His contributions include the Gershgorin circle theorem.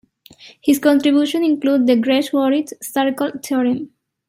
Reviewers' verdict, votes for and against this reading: rejected, 0, 2